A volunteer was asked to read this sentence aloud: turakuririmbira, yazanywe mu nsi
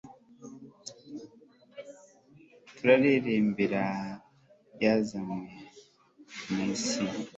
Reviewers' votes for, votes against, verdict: 1, 2, rejected